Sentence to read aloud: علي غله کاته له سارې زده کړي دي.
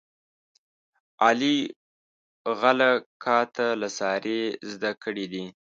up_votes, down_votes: 1, 2